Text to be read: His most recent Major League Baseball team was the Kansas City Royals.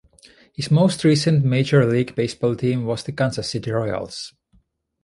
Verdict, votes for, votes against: accepted, 2, 0